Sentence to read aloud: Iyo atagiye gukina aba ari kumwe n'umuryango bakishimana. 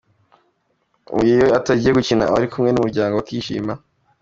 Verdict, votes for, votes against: accepted, 2, 1